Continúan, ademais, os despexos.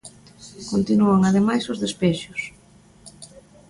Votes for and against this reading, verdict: 2, 1, accepted